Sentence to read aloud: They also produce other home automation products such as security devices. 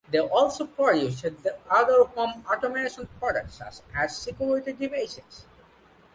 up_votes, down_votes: 1, 2